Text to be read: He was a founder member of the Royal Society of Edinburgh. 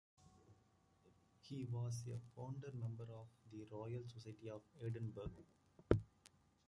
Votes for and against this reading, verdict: 2, 1, accepted